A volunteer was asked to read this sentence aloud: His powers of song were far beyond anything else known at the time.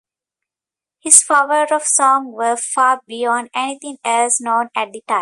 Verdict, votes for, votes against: rejected, 1, 2